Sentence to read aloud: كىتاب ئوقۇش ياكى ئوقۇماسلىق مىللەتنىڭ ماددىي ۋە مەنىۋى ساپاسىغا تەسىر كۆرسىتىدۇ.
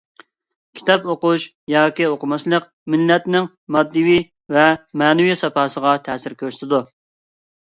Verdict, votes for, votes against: rejected, 1, 2